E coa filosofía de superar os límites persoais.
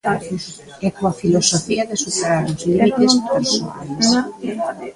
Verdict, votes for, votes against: rejected, 0, 2